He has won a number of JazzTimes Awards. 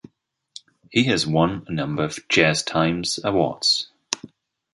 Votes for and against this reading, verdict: 2, 0, accepted